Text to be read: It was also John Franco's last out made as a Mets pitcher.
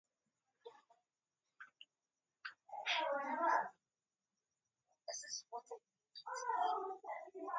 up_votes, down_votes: 0, 4